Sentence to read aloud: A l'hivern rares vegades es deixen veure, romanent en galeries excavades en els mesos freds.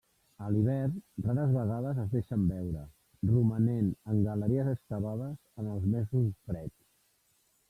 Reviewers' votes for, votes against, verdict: 1, 2, rejected